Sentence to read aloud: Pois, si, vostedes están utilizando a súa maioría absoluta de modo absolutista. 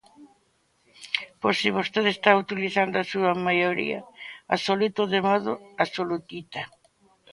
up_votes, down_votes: 2, 3